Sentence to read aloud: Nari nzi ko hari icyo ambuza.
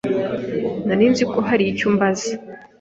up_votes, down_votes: 1, 2